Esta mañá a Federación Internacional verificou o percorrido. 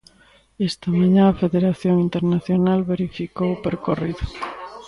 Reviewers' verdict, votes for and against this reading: accepted, 2, 0